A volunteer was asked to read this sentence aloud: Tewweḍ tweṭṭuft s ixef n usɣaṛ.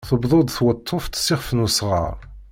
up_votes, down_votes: 2, 0